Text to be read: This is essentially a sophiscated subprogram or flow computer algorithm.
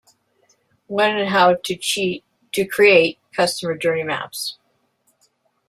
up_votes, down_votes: 0, 2